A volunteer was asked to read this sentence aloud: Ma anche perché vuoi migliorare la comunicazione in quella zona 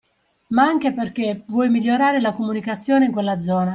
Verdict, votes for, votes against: accepted, 2, 0